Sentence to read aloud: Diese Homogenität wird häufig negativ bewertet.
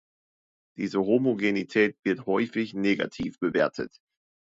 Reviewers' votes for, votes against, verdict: 2, 0, accepted